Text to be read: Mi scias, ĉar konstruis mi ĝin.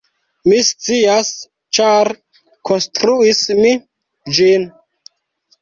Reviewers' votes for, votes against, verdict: 1, 2, rejected